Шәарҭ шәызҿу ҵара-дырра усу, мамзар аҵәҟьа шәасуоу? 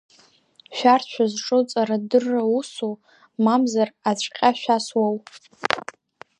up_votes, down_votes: 1, 2